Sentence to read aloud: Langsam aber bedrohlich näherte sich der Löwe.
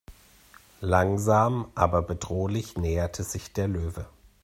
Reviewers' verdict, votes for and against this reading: accepted, 2, 0